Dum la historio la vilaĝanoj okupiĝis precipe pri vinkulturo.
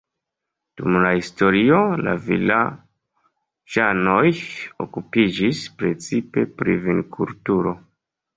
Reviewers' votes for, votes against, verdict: 0, 2, rejected